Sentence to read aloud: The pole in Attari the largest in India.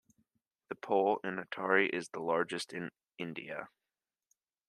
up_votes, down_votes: 0, 2